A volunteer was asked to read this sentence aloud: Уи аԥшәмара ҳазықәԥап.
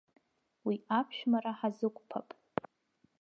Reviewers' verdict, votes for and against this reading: accepted, 2, 1